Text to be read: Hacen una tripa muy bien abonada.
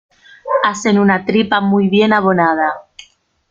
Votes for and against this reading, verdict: 0, 2, rejected